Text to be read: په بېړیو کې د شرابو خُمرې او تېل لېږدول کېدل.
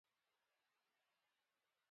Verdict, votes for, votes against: rejected, 0, 2